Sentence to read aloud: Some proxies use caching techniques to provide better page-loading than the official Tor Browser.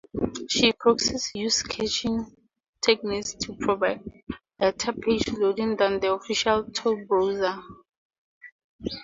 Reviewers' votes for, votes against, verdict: 0, 4, rejected